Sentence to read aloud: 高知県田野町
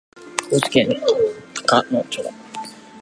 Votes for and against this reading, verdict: 1, 2, rejected